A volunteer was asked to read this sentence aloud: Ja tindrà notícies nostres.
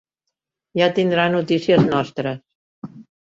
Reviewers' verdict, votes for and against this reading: rejected, 1, 2